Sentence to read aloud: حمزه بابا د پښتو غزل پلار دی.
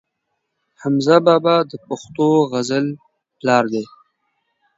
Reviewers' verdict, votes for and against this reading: accepted, 2, 0